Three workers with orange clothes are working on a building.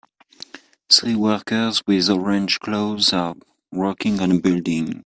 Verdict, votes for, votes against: accepted, 2, 1